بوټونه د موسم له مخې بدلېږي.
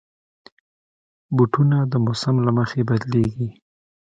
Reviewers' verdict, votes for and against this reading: accepted, 2, 0